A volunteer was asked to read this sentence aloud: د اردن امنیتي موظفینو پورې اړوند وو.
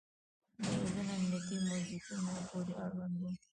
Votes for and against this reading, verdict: 1, 2, rejected